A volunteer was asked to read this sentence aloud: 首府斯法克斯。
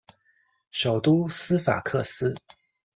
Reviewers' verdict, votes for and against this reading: rejected, 1, 2